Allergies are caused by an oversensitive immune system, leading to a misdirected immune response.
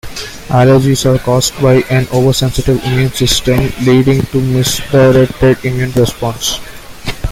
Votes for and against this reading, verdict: 2, 1, accepted